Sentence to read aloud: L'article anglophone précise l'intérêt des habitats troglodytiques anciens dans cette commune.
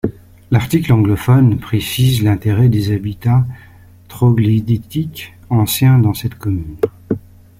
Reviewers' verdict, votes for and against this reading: rejected, 0, 2